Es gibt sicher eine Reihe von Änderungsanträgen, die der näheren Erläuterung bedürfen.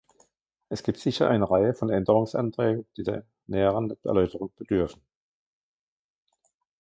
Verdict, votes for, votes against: rejected, 0, 2